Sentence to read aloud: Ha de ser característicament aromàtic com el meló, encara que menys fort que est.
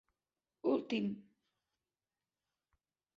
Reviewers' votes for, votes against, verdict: 0, 2, rejected